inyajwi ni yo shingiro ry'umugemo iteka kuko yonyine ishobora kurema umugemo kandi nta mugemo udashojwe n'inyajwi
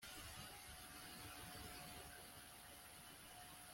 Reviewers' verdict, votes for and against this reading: rejected, 1, 2